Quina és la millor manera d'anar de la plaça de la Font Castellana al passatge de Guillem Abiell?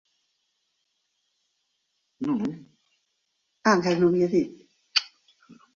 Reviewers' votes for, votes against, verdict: 1, 2, rejected